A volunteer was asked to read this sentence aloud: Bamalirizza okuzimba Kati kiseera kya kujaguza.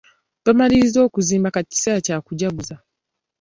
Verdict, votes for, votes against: accepted, 2, 0